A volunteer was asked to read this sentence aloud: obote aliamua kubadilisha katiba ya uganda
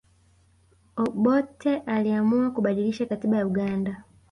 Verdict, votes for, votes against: accepted, 2, 0